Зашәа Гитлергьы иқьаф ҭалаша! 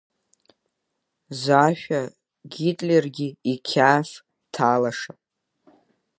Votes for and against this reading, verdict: 3, 0, accepted